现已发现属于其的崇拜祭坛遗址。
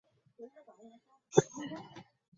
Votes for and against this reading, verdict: 0, 2, rejected